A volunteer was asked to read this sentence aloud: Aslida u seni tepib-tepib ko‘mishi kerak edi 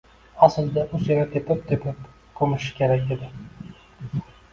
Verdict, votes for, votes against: accepted, 2, 0